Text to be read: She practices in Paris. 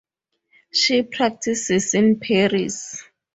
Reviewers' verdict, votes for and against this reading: accepted, 6, 0